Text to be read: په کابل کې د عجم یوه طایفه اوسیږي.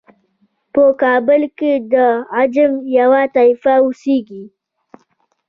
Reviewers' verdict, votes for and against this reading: accepted, 2, 0